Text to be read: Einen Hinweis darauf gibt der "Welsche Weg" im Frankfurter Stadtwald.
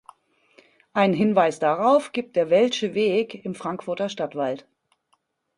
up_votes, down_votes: 2, 0